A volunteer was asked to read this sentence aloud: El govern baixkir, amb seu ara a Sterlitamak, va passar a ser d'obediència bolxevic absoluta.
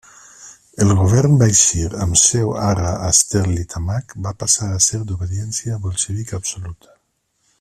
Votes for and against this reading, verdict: 2, 0, accepted